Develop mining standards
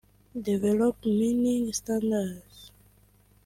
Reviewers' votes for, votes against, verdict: 0, 2, rejected